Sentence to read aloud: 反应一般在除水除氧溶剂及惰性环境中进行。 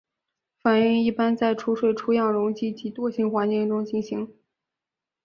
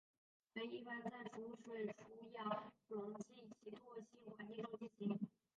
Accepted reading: first